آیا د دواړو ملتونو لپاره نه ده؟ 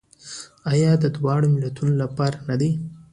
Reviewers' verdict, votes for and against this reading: accepted, 2, 0